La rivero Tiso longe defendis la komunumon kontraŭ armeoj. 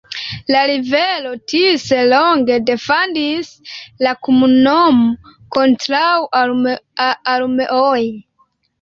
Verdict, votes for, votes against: accepted, 2, 0